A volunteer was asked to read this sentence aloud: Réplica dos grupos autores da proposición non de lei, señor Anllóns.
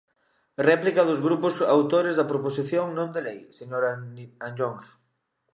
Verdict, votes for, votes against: rejected, 0, 2